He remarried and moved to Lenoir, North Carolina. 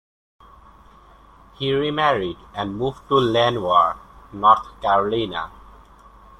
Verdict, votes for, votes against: accepted, 2, 0